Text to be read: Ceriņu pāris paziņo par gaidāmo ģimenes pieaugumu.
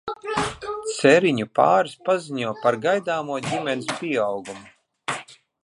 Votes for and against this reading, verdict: 1, 2, rejected